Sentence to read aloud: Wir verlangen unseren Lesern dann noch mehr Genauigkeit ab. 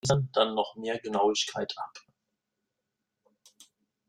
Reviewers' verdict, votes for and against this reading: rejected, 0, 2